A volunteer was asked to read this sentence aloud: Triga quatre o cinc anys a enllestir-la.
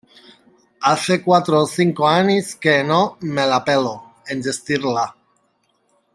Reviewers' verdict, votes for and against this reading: rejected, 1, 2